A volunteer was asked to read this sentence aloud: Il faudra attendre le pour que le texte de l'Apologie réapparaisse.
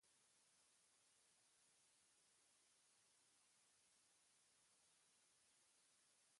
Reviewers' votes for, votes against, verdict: 1, 2, rejected